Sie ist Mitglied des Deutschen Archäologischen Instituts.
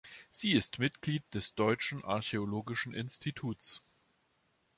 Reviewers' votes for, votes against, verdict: 2, 0, accepted